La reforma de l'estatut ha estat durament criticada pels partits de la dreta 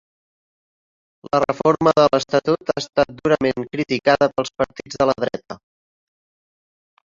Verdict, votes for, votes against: rejected, 0, 2